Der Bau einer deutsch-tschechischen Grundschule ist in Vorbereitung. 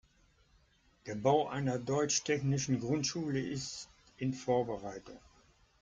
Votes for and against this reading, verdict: 1, 3, rejected